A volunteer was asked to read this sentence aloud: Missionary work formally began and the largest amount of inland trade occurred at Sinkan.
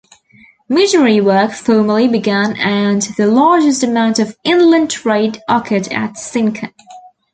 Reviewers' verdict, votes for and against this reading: accepted, 2, 0